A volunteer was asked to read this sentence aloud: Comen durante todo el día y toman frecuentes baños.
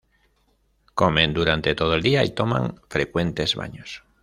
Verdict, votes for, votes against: rejected, 0, 2